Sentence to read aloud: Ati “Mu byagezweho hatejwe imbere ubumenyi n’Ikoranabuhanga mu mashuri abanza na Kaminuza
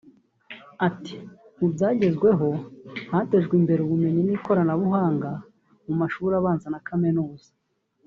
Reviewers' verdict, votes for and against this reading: accepted, 2, 0